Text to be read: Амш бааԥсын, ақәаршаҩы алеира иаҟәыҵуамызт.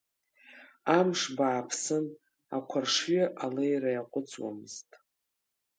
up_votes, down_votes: 2, 0